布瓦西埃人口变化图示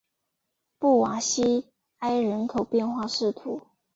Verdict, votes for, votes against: accepted, 3, 2